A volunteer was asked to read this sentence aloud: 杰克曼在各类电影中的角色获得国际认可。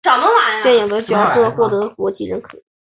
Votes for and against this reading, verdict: 1, 3, rejected